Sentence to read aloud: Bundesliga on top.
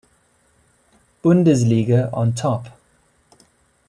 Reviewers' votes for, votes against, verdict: 2, 0, accepted